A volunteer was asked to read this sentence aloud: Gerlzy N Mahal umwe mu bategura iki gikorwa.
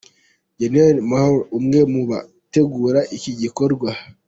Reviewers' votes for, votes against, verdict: 0, 2, rejected